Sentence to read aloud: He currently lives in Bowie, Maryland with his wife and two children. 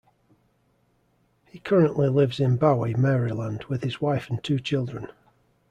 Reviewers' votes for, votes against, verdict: 2, 0, accepted